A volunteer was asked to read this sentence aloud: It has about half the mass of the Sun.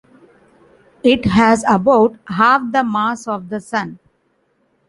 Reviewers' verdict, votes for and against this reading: accepted, 2, 1